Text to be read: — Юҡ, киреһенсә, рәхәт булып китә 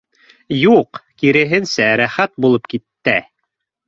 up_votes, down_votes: 0, 2